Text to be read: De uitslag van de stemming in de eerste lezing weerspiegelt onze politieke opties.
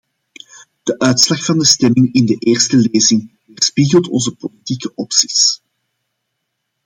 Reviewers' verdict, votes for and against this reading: accepted, 2, 0